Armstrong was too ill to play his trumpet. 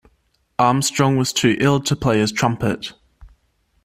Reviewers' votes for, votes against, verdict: 2, 0, accepted